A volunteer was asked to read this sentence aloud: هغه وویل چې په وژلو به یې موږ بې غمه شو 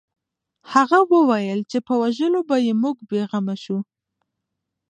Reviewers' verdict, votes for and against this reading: rejected, 1, 2